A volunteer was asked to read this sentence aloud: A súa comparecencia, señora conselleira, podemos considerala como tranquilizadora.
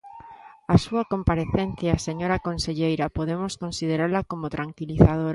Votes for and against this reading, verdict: 1, 2, rejected